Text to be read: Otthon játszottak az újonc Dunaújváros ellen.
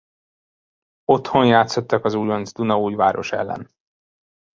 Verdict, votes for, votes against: rejected, 1, 2